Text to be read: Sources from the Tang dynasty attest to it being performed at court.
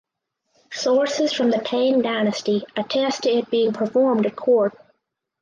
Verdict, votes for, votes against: accepted, 4, 0